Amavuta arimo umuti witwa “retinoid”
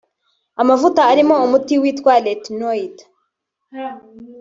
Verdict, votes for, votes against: accepted, 2, 0